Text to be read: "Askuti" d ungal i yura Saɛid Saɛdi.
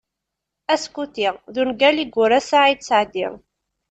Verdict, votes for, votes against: accepted, 2, 0